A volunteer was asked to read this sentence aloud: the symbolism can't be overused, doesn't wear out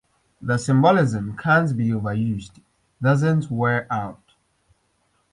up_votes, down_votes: 2, 0